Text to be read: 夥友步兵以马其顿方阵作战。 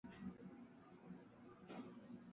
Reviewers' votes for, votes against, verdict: 0, 2, rejected